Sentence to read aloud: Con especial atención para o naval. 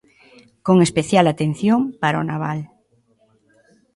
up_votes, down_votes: 2, 0